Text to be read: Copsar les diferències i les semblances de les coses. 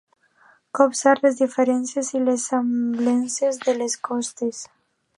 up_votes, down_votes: 0, 2